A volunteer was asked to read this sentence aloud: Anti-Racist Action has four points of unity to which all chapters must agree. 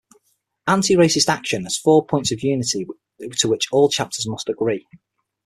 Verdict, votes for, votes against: accepted, 6, 0